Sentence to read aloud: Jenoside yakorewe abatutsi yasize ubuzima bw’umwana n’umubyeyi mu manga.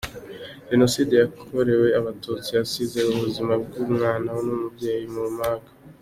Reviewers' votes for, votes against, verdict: 2, 0, accepted